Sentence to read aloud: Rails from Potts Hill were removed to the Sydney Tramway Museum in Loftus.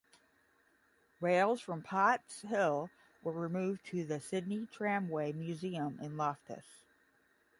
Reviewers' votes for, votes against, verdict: 5, 0, accepted